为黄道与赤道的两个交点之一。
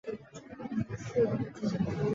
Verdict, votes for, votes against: rejected, 0, 2